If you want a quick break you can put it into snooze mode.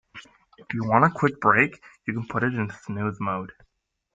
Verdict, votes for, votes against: rejected, 1, 2